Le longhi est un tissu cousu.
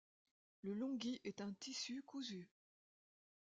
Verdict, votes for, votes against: accepted, 2, 1